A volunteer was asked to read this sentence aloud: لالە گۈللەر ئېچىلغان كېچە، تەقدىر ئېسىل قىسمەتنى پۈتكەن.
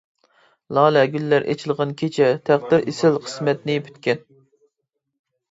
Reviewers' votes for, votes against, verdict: 2, 0, accepted